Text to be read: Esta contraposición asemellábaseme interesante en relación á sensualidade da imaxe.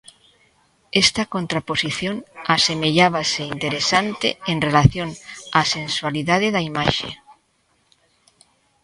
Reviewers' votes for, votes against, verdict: 1, 2, rejected